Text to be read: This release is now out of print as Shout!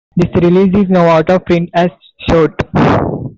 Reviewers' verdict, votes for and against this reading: rejected, 1, 2